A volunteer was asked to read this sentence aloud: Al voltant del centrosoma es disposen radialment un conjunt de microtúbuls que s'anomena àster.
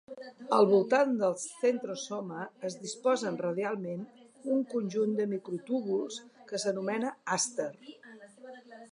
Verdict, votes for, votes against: rejected, 1, 2